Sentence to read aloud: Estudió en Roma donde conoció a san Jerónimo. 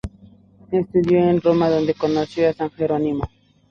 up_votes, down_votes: 0, 2